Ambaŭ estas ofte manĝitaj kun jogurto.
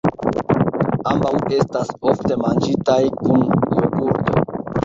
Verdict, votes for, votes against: rejected, 1, 2